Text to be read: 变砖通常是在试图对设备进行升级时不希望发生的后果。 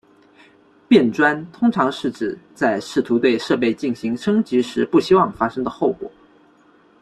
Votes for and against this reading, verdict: 1, 2, rejected